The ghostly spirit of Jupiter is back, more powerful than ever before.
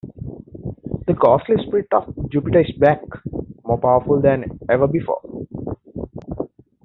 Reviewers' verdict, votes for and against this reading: accepted, 2, 1